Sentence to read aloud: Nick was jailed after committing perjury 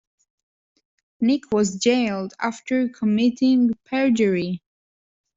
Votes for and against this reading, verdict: 2, 1, accepted